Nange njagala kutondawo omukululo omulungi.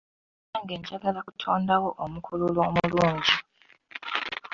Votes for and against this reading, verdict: 2, 0, accepted